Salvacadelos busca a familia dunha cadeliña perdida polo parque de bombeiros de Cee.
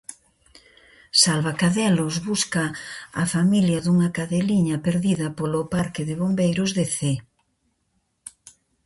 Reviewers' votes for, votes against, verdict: 2, 0, accepted